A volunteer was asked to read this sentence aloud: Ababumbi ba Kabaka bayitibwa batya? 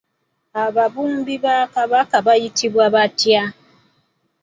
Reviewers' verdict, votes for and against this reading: accepted, 2, 0